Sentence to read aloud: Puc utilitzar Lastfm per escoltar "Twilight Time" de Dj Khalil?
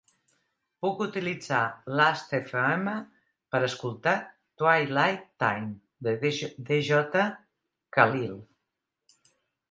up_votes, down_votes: 1, 2